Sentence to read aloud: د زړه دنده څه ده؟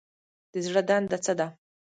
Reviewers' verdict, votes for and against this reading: rejected, 1, 2